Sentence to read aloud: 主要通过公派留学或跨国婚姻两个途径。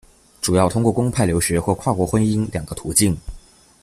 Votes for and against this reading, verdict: 2, 0, accepted